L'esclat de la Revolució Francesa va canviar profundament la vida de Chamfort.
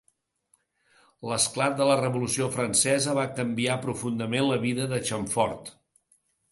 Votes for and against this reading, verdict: 2, 0, accepted